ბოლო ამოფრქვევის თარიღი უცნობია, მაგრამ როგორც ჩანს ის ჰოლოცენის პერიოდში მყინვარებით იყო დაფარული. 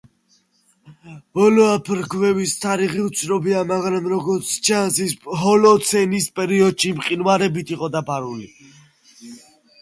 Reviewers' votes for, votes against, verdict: 0, 2, rejected